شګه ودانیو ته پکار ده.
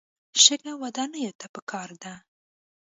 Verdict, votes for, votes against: accepted, 2, 0